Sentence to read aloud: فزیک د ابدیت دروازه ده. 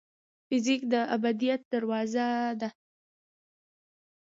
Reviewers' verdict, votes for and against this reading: accepted, 2, 0